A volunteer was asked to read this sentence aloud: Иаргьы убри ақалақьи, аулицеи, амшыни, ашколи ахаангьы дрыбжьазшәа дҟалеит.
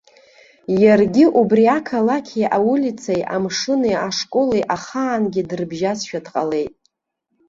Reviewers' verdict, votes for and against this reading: rejected, 1, 2